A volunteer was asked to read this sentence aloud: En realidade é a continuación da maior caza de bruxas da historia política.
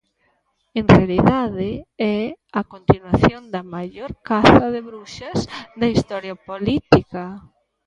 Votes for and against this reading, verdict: 0, 2, rejected